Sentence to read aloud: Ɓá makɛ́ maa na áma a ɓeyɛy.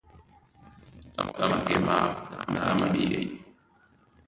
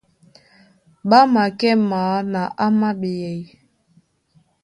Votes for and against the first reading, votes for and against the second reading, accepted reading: 0, 2, 2, 0, second